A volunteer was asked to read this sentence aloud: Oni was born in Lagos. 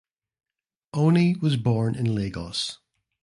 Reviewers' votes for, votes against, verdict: 2, 0, accepted